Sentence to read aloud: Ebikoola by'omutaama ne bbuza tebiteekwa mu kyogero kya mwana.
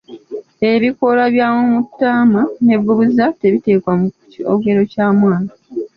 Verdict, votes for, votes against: rejected, 1, 2